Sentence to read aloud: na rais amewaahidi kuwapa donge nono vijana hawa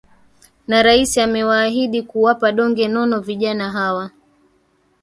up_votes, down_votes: 1, 2